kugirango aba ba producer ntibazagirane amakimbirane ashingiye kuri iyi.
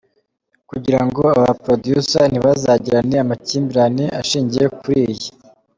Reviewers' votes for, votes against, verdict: 2, 1, accepted